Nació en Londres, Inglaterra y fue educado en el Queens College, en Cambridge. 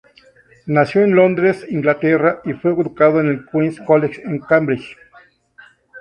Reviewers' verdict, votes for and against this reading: rejected, 2, 4